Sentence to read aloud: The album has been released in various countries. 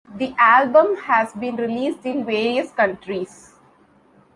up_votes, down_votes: 2, 0